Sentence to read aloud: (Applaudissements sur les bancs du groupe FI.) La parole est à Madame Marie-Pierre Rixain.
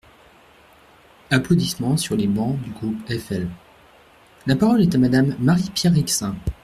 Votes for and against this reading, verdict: 0, 2, rejected